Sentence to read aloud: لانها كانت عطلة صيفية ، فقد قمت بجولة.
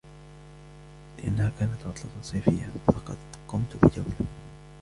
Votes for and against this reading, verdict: 0, 2, rejected